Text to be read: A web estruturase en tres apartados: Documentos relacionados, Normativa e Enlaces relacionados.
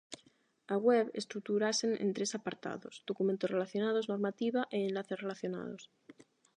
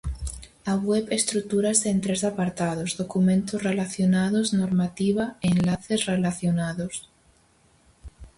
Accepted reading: first